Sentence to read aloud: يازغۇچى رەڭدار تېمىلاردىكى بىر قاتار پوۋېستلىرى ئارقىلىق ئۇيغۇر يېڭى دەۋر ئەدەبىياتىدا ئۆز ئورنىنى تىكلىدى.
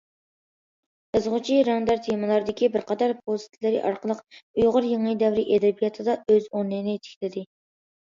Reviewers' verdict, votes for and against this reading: accepted, 2, 1